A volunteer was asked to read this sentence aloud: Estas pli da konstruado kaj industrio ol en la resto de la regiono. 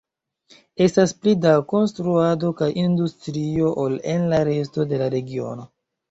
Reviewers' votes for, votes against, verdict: 0, 2, rejected